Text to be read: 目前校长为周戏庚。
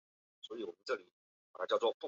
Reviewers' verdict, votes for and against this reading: rejected, 0, 3